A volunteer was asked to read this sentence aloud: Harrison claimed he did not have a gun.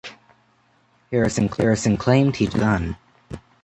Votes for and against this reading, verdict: 0, 2, rejected